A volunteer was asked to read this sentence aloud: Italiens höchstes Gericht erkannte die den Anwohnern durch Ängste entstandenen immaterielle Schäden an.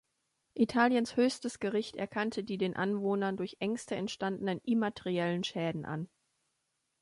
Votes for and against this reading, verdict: 1, 2, rejected